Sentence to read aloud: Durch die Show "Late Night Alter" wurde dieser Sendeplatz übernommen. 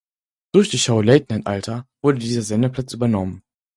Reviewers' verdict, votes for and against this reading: accepted, 4, 0